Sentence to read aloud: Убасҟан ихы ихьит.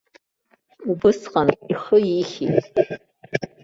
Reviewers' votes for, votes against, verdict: 0, 2, rejected